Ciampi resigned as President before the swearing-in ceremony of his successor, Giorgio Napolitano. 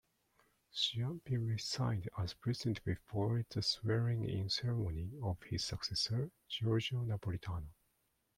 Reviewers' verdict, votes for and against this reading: accepted, 2, 1